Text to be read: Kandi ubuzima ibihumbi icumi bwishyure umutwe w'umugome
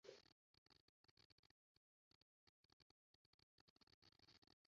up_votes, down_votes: 0, 2